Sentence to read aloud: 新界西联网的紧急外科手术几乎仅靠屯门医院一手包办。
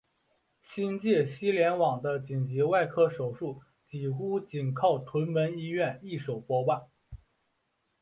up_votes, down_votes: 3, 1